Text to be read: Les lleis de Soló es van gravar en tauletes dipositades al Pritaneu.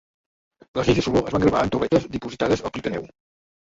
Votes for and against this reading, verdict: 0, 3, rejected